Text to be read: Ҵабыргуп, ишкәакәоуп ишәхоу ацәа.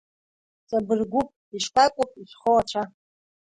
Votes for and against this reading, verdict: 1, 2, rejected